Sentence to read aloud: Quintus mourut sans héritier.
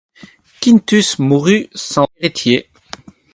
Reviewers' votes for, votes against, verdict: 4, 0, accepted